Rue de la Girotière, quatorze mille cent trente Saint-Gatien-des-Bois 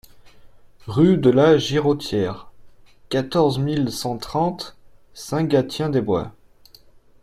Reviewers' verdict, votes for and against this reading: accepted, 2, 1